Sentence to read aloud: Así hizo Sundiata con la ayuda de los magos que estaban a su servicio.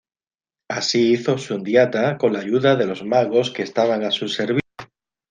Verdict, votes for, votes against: accepted, 2, 0